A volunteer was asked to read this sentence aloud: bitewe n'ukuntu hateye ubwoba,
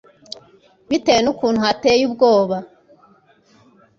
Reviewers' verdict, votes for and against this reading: accepted, 2, 0